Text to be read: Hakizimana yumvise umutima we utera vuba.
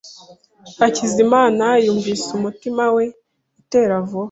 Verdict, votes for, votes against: accepted, 2, 0